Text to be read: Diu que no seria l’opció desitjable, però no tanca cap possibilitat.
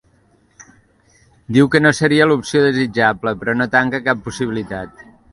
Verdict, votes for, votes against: accepted, 2, 0